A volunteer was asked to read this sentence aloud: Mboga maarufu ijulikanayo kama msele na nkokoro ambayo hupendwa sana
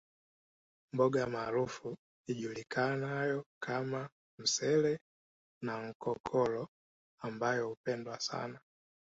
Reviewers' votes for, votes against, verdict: 2, 0, accepted